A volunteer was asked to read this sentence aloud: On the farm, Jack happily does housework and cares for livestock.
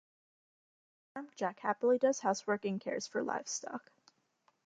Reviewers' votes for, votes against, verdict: 1, 2, rejected